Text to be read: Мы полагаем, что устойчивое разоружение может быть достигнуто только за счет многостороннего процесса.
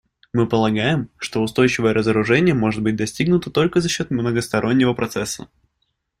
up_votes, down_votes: 2, 0